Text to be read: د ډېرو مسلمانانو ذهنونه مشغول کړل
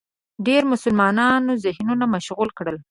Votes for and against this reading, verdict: 1, 2, rejected